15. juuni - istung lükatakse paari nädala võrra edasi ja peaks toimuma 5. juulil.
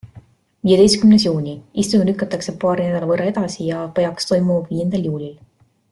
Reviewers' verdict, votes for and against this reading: rejected, 0, 2